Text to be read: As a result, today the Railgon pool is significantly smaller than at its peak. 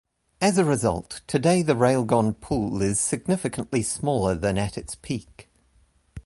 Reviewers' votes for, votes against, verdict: 2, 0, accepted